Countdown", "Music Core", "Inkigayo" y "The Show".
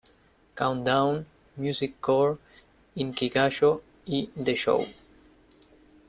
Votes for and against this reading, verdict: 1, 2, rejected